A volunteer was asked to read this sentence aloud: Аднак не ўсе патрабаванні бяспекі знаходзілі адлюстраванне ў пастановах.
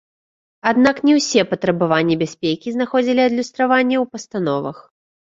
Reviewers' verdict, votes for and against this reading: accepted, 2, 0